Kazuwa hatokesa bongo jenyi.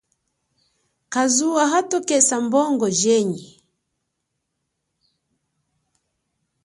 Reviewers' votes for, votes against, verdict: 5, 0, accepted